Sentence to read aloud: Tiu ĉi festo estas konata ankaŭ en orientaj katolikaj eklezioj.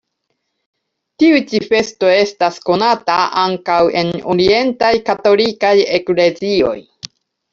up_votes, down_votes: 1, 2